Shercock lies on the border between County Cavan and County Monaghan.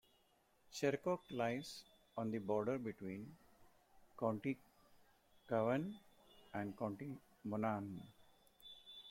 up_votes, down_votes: 0, 2